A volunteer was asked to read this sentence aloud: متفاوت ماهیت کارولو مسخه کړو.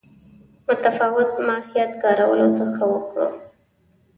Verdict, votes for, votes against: rejected, 0, 2